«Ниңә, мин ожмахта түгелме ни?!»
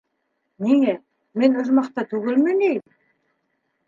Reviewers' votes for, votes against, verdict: 1, 2, rejected